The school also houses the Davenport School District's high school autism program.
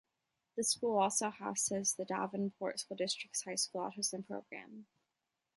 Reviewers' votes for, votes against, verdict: 2, 0, accepted